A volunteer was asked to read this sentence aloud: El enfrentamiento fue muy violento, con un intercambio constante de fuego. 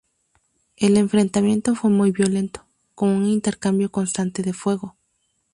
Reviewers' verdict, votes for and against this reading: accepted, 2, 0